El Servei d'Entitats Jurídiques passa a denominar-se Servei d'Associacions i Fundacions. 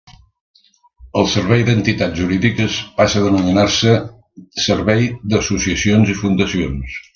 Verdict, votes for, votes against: accepted, 2, 0